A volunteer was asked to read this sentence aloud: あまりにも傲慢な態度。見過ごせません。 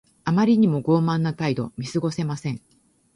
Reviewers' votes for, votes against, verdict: 2, 0, accepted